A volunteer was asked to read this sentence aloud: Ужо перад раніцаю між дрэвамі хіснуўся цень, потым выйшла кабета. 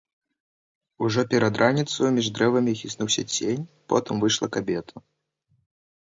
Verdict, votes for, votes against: rejected, 0, 3